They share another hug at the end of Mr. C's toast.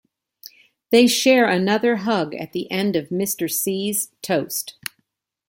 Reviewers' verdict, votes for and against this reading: accepted, 2, 0